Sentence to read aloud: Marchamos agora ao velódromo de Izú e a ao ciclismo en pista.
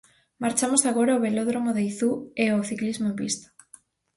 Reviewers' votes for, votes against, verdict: 0, 2, rejected